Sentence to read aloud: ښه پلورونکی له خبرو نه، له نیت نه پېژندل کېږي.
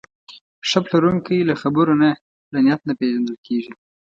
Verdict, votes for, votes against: accepted, 2, 0